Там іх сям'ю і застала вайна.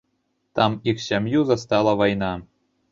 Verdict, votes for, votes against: rejected, 0, 2